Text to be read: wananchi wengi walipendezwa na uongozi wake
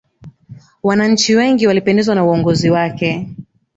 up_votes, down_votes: 4, 0